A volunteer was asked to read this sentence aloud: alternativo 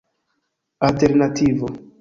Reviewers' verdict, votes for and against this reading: accepted, 2, 0